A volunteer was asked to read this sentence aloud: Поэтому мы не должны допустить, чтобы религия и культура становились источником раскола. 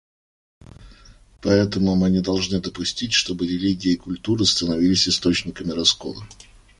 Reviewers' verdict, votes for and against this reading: rejected, 0, 2